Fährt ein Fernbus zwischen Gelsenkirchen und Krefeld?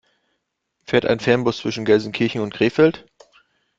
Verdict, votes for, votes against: accepted, 2, 0